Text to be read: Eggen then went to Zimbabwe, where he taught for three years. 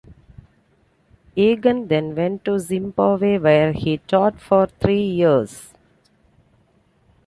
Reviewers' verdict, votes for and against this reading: accepted, 2, 0